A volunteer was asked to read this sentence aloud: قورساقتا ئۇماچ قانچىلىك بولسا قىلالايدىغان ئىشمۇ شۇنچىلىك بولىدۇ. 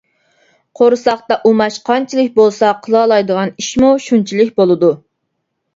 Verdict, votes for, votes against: accepted, 2, 0